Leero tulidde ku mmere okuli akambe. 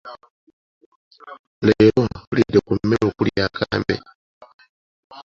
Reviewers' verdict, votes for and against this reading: accepted, 2, 1